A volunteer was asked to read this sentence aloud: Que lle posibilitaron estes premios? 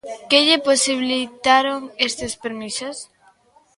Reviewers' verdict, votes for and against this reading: rejected, 0, 2